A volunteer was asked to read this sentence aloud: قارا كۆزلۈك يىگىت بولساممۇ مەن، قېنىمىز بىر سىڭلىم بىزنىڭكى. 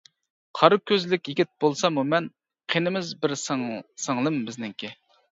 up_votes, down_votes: 0, 2